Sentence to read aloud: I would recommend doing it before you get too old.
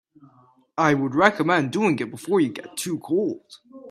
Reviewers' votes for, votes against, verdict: 0, 2, rejected